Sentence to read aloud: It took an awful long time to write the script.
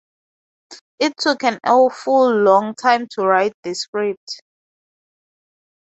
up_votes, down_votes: 2, 0